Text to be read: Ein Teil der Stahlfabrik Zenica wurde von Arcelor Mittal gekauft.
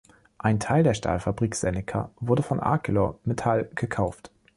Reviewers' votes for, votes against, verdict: 2, 1, accepted